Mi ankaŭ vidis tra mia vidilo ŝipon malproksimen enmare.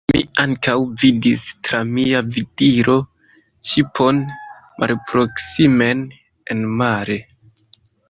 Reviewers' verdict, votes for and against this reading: accepted, 3, 2